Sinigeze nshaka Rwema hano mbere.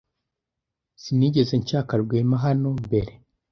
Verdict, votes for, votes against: accepted, 2, 0